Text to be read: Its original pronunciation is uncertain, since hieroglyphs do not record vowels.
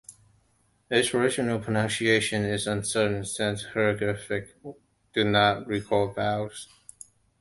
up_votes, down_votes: 0, 2